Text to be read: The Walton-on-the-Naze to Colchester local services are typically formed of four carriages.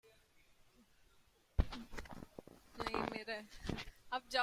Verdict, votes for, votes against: rejected, 0, 2